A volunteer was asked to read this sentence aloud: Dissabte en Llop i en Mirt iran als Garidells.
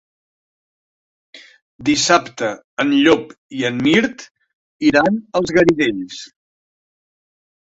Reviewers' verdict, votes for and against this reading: accepted, 3, 0